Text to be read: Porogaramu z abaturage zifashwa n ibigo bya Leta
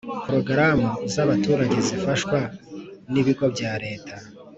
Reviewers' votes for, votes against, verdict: 3, 0, accepted